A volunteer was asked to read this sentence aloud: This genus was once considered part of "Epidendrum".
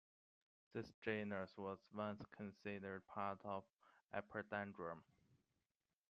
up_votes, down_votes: 2, 1